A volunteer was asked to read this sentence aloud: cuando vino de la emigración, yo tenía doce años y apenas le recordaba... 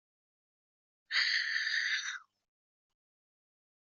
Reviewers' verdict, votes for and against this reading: rejected, 0, 2